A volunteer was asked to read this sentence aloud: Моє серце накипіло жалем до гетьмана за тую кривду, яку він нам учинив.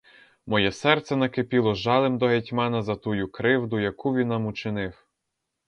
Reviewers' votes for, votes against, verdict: 0, 2, rejected